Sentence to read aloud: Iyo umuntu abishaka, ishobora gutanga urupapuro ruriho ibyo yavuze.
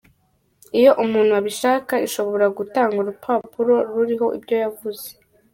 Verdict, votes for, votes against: rejected, 1, 2